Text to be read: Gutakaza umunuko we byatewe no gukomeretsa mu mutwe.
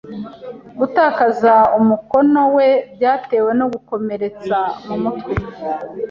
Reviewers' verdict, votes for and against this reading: rejected, 0, 2